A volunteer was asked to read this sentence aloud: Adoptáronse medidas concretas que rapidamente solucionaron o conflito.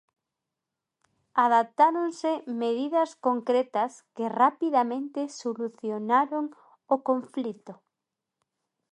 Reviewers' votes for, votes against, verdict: 0, 2, rejected